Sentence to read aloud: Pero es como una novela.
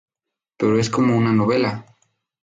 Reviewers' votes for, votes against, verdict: 2, 0, accepted